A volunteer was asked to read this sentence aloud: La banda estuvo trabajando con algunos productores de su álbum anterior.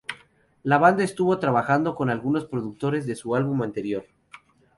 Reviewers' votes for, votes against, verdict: 0, 2, rejected